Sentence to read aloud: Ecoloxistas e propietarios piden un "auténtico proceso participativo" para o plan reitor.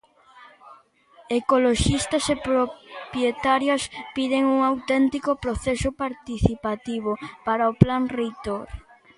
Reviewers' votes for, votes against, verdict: 0, 2, rejected